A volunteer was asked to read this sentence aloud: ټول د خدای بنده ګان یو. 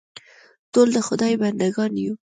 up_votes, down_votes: 2, 0